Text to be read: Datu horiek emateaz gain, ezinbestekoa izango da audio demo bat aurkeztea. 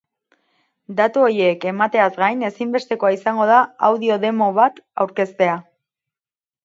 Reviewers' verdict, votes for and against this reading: rejected, 2, 4